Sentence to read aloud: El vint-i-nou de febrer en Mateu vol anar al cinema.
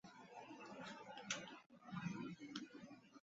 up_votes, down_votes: 0, 2